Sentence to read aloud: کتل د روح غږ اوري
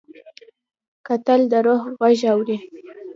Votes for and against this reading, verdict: 2, 0, accepted